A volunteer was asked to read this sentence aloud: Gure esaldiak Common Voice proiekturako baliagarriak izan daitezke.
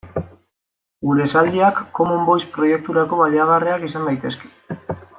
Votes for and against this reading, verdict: 2, 0, accepted